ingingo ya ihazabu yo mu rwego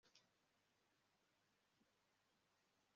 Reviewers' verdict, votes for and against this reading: rejected, 0, 2